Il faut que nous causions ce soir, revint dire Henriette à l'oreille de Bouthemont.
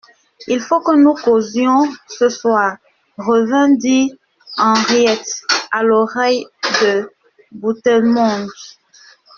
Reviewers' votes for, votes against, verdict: 0, 2, rejected